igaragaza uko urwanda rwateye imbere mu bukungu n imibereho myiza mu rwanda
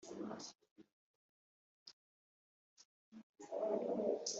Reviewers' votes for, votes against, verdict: 0, 2, rejected